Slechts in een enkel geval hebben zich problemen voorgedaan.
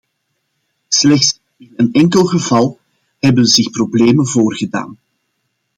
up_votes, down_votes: 0, 2